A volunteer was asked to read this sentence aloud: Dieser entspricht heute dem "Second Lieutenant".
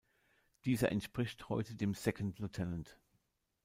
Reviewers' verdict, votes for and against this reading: rejected, 0, 2